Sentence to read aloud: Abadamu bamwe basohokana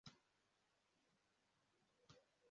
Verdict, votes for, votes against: rejected, 0, 2